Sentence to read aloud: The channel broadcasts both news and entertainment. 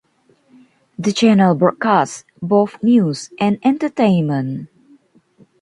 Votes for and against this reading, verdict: 2, 1, accepted